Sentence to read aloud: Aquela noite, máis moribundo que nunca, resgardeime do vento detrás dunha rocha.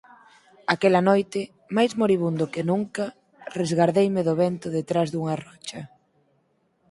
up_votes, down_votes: 4, 0